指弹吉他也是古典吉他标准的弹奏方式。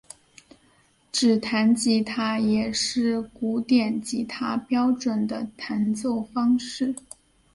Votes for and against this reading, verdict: 9, 0, accepted